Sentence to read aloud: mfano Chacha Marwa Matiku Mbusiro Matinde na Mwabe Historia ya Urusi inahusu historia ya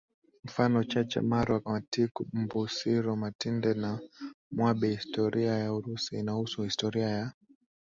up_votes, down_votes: 1, 2